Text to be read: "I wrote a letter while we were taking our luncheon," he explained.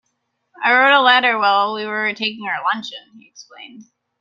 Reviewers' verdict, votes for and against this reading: accepted, 2, 0